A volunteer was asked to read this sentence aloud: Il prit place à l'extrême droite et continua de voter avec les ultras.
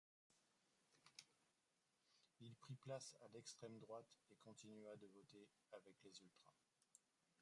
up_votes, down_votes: 1, 2